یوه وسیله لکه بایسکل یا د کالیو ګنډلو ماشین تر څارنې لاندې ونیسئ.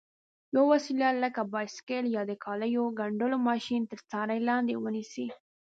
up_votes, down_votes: 0, 2